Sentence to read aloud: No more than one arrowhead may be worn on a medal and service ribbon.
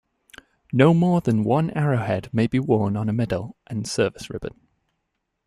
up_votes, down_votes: 2, 0